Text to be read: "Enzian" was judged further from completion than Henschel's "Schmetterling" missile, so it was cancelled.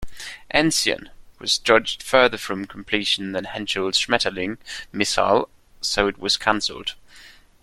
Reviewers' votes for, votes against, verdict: 2, 0, accepted